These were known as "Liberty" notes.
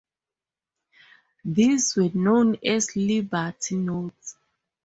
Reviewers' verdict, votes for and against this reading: accepted, 4, 0